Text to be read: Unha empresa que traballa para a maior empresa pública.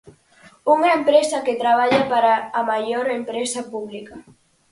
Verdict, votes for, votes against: accepted, 4, 0